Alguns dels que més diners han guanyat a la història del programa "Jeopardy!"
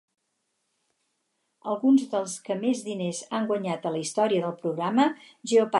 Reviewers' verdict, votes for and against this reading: rejected, 0, 4